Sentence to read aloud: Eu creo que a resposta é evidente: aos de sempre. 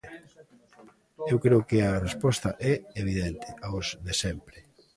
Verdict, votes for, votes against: accepted, 2, 0